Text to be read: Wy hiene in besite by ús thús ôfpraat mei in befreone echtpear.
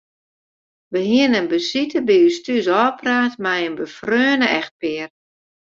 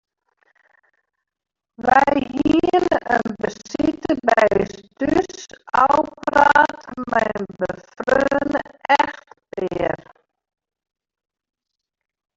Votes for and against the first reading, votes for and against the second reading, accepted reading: 2, 0, 0, 2, first